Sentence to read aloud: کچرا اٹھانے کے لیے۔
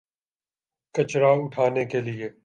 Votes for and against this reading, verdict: 3, 0, accepted